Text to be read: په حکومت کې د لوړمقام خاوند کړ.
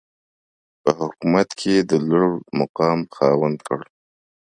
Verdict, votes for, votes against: accepted, 2, 0